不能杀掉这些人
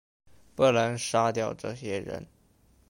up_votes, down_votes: 2, 0